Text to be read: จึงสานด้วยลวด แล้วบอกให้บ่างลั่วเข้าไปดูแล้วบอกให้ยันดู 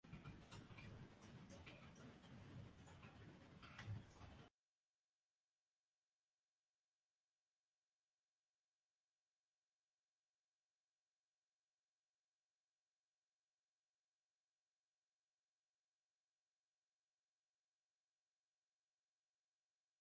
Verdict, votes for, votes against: rejected, 0, 2